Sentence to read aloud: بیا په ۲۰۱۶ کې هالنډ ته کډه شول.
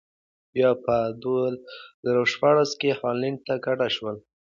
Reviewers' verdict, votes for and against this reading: rejected, 0, 2